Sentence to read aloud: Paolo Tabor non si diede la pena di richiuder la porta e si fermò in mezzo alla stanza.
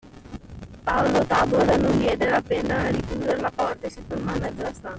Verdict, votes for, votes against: rejected, 0, 2